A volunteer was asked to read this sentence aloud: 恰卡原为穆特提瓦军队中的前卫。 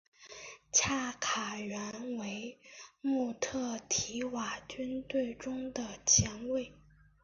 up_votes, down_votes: 4, 0